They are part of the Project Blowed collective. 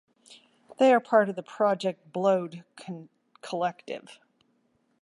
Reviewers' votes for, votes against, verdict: 1, 2, rejected